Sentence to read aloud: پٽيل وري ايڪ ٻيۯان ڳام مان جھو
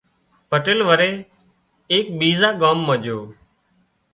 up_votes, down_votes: 2, 0